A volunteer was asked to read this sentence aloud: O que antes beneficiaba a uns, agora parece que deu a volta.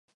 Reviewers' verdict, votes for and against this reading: rejected, 2, 4